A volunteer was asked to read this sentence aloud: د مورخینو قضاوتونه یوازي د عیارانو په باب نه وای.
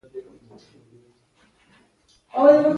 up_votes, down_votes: 2, 0